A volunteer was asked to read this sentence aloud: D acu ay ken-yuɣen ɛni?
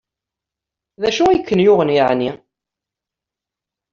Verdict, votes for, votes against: rejected, 0, 2